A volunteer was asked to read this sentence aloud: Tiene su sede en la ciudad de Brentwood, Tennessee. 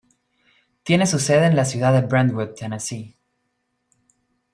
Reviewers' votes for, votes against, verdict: 2, 0, accepted